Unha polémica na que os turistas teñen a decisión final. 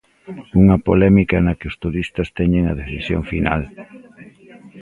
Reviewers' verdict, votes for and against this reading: rejected, 1, 2